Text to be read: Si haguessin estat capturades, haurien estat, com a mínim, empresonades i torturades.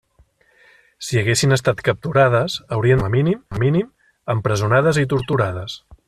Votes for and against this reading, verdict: 0, 2, rejected